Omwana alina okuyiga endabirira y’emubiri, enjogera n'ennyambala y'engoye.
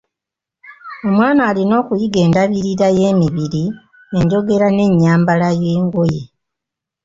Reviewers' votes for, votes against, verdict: 0, 2, rejected